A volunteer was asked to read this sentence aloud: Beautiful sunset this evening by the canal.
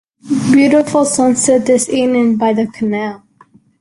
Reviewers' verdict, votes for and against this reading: accepted, 2, 0